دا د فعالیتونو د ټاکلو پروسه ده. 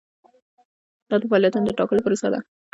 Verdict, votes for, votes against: accepted, 2, 0